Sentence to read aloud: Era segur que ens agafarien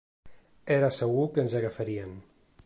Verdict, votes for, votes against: accepted, 3, 0